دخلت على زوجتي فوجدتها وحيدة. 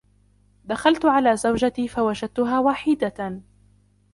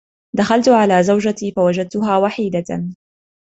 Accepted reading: second